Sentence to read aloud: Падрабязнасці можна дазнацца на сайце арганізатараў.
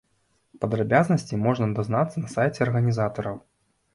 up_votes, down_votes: 2, 0